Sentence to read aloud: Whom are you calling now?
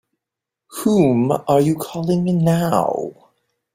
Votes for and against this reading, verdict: 2, 0, accepted